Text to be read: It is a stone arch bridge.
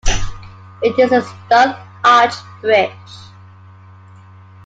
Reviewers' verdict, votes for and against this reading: rejected, 0, 2